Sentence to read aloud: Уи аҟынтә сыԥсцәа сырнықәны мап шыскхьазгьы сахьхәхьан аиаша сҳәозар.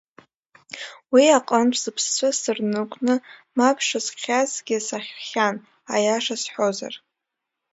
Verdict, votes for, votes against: rejected, 1, 2